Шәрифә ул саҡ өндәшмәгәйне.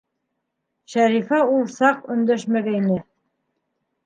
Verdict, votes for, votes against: accepted, 2, 0